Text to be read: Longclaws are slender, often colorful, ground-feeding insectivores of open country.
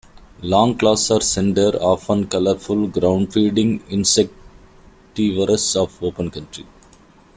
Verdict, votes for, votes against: rejected, 1, 2